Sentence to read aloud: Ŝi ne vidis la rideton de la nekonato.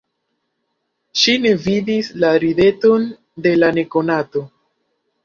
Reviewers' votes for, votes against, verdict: 1, 2, rejected